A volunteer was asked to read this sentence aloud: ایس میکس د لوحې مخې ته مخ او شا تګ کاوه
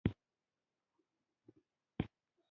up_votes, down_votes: 1, 3